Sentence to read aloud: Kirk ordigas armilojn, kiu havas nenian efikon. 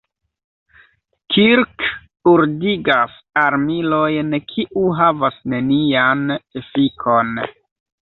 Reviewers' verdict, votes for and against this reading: accepted, 2, 0